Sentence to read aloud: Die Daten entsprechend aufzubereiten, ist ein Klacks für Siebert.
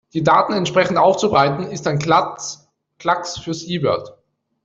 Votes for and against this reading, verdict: 0, 2, rejected